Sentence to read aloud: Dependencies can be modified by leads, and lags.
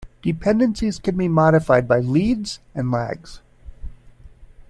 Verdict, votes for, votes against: accepted, 2, 0